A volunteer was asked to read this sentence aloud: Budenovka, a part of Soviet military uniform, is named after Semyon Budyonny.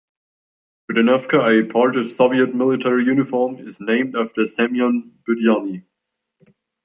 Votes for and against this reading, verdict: 2, 0, accepted